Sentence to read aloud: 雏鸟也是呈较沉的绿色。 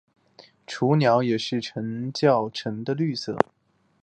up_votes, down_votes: 3, 0